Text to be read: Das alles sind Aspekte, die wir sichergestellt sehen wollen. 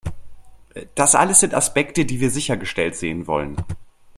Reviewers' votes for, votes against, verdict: 2, 0, accepted